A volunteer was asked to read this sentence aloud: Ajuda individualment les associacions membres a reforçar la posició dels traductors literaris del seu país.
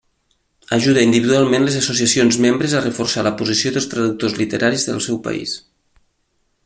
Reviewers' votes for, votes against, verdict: 3, 0, accepted